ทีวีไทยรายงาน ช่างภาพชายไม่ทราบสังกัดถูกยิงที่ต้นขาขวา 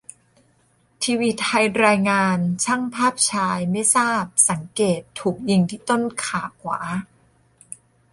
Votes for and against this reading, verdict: 0, 2, rejected